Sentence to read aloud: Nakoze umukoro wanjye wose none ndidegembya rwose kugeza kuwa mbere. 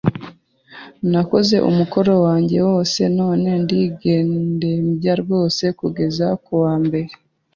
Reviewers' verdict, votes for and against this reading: rejected, 0, 2